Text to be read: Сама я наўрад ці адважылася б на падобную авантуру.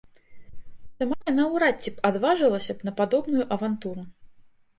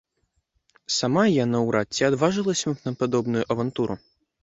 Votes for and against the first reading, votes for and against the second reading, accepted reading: 0, 2, 2, 0, second